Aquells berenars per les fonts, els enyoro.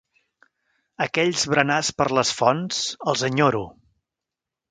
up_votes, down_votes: 2, 0